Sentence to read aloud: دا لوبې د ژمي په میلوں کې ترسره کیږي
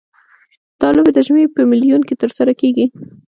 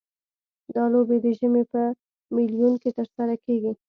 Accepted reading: second